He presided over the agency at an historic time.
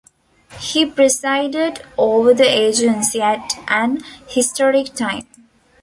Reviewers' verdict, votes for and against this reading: accepted, 2, 0